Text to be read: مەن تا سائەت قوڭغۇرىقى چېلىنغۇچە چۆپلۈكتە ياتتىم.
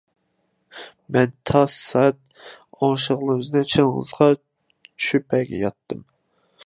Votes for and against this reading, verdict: 0, 2, rejected